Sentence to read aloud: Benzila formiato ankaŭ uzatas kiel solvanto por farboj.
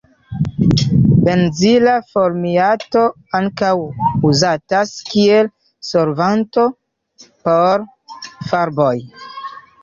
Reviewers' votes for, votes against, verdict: 1, 2, rejected